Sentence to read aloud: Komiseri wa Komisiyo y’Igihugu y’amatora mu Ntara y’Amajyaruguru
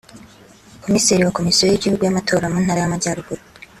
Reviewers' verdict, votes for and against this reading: accepted, 2, 0